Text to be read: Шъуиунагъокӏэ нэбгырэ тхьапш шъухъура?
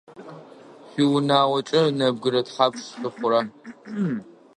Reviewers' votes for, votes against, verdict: 1, 2, rejected